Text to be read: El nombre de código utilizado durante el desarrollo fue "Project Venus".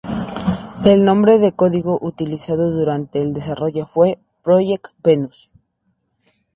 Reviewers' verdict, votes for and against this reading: accepted, 2, 0